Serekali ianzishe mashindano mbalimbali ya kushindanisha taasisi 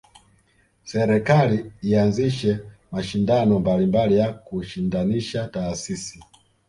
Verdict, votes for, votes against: rejected, 1, 2